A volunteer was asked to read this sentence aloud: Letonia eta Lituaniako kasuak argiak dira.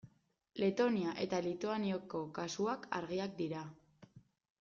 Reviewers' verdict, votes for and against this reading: rejected, 1, 2